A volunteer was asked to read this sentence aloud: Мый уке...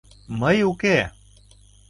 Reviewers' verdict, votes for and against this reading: accepted, 2, 0